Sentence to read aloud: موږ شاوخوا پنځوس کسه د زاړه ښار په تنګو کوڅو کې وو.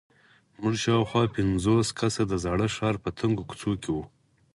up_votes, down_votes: 4, 0